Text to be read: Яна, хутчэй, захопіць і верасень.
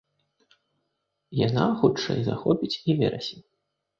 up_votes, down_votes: 2, 0